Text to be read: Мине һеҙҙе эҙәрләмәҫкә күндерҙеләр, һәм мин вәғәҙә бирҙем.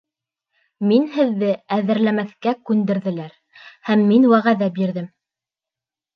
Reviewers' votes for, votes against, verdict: 1, 2, rejected